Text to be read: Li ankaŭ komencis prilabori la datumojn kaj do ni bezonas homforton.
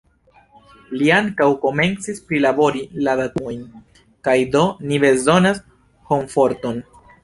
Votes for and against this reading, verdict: 2, 0, accepted